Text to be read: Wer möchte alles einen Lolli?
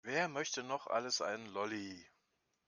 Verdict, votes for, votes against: rejected, 0, 2